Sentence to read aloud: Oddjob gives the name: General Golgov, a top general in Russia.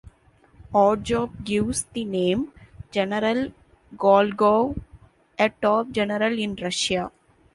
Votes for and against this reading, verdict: 2, 1, accepted